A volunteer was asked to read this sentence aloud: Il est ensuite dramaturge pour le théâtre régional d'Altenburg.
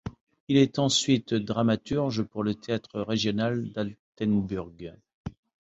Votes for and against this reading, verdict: 2, 0, accepted